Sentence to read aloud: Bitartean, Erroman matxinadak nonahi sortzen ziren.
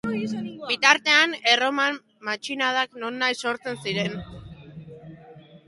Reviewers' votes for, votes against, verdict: 2, 0, accepted